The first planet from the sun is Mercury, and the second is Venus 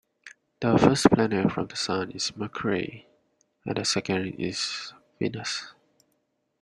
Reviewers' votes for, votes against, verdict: 1, 2, rejected